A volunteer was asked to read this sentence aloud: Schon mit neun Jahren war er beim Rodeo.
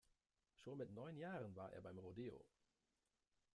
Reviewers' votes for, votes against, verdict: 2, 0, accepted